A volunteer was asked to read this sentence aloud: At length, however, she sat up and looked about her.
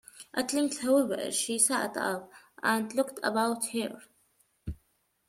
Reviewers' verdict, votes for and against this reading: rejected, 1, 2